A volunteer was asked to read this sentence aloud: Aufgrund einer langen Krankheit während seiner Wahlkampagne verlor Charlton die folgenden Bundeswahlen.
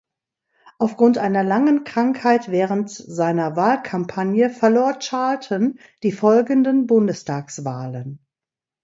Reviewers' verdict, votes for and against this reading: rejected, 1, 2